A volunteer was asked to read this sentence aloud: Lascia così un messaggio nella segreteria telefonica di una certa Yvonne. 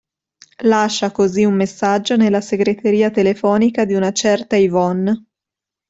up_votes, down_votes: 3, 1